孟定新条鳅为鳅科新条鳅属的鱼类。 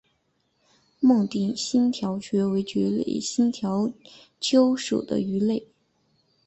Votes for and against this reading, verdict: 2, 0, accepted